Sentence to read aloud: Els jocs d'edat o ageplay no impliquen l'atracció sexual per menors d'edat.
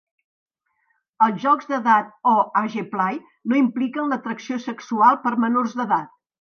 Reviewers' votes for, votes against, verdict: 1, 2, rejected